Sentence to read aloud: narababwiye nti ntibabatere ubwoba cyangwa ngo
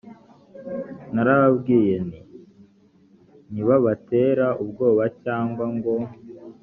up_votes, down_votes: 1, 2